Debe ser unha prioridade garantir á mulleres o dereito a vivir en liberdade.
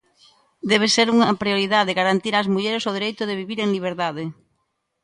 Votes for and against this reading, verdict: 0, 2, rejected